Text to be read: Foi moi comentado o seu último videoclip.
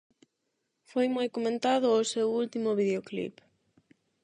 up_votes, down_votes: 8, 0